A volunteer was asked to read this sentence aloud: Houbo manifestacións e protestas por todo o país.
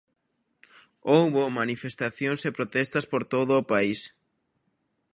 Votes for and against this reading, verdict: 2, 0, accepted